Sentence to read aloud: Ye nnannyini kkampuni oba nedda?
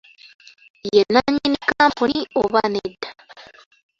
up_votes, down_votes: 2, 0